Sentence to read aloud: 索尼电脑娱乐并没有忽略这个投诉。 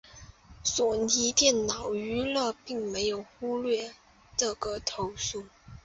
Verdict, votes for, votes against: accepted, 2, 0